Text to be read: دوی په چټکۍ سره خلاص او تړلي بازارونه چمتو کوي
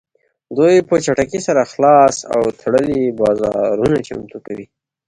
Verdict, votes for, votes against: accepted, 2, 0